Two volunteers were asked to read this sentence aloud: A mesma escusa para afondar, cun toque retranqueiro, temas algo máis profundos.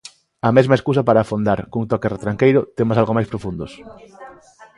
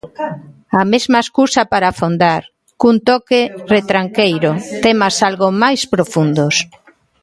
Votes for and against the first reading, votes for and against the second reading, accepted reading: 2, 0, 0, 2, first